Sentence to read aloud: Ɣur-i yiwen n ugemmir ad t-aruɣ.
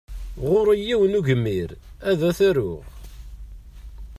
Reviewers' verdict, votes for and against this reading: rejected, 1, 2